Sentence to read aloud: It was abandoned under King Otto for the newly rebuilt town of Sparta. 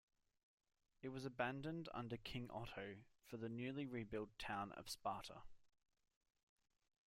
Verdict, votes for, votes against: accepted, 2, 0